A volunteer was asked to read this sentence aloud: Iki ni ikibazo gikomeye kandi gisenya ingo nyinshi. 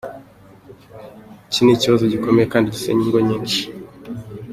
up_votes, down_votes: 2, 0